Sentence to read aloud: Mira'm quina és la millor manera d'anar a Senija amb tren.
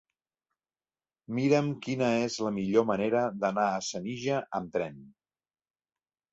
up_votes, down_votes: 3, 0